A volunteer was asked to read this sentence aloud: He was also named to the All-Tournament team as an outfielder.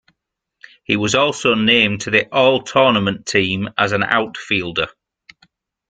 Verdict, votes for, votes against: accepted, 2, 0